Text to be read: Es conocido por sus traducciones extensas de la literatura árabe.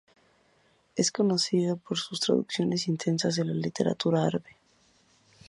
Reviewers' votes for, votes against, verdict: 2, 0, accepted